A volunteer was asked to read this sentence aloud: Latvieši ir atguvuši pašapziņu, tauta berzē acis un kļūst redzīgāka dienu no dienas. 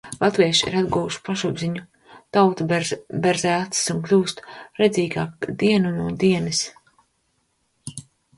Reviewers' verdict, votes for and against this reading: rejected, 1, 2